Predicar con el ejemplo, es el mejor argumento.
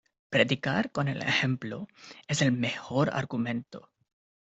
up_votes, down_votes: 2, 0